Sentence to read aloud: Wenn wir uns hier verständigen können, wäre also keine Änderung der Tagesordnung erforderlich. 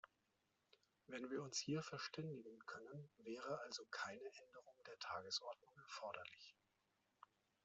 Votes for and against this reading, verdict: 2, 0, accepted